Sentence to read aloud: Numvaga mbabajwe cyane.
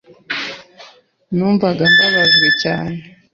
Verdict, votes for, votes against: accepted, 3, 0